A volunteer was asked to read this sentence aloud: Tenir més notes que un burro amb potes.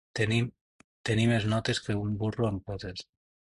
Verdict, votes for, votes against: rejected, 0, 2